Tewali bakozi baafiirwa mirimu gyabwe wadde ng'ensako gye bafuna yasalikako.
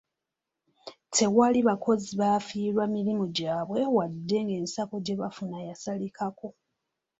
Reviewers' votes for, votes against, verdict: 2, 0, accepted